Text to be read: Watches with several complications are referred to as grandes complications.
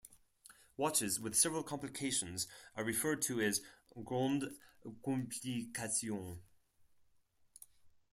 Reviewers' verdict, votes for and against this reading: rejected, 2, 4